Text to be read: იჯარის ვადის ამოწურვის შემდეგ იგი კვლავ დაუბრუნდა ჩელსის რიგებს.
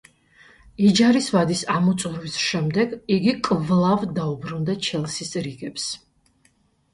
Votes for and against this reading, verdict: 2, 0, accepted